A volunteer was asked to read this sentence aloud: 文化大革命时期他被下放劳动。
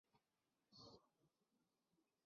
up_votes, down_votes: 0, 4